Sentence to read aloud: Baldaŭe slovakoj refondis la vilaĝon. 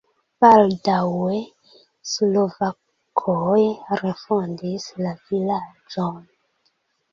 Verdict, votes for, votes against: rejected, 0, 2